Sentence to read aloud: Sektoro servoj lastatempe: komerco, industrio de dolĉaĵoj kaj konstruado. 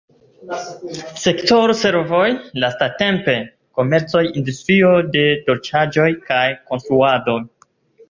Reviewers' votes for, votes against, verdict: 0, 2, rejected